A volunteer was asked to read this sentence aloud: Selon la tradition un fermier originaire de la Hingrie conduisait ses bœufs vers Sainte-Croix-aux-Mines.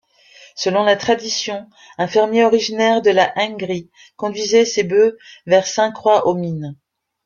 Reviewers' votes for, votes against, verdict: 1, 2, rejected